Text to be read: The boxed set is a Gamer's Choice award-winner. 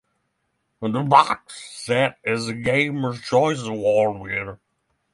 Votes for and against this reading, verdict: 0, 3, rejected